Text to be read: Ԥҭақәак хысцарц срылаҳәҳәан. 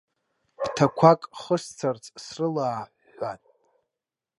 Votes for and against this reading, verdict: 1, 2, rejected